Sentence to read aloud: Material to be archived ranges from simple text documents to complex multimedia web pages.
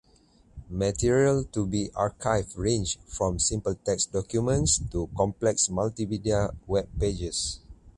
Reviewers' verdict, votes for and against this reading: rejected, 0, 2